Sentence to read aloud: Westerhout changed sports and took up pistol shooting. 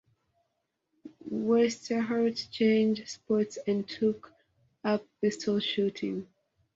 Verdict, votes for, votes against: accepted, 2, 1